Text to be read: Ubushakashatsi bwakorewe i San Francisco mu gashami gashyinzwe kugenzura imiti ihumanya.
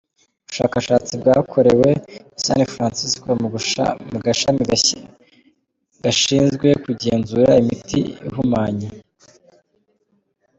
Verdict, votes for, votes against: rejected, 1, 2